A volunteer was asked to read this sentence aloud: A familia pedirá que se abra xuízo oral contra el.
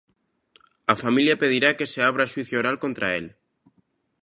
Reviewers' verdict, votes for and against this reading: rejected, 1, 2